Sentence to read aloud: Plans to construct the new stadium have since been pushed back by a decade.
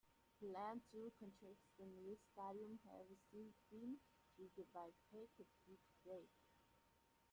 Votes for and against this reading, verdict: 1, 2, rejected